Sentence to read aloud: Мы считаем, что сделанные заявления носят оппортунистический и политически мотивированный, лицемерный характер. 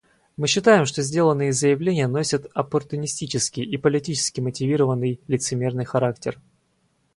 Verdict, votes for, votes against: accepted, 4, 0